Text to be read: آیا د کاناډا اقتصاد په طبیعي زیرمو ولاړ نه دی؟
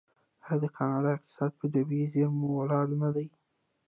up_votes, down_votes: 0, 2